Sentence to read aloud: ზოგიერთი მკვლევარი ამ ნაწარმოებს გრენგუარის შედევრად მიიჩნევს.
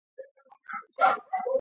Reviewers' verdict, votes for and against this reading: rejected, 0, 2